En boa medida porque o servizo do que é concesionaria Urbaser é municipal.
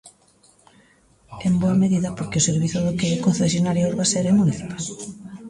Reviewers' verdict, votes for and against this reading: rejected, 0, 2